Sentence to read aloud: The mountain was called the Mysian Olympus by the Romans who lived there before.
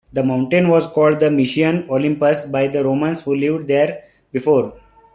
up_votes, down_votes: 2, 1